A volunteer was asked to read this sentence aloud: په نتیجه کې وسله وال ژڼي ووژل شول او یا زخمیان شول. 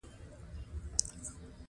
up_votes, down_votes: 1, 2